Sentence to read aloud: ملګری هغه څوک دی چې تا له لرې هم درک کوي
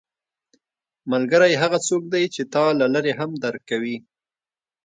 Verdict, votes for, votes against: accepted, 2, 0